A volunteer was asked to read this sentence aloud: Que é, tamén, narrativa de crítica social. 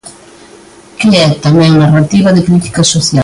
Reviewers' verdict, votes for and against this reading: rejected, 0, 2